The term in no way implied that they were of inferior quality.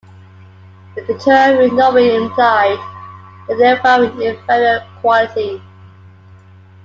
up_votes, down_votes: 1, 2